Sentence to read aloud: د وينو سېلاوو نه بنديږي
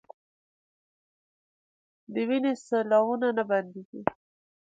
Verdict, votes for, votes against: rejected, 1, 2